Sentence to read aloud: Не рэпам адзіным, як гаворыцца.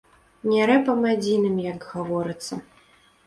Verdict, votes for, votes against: rejected, 1, 2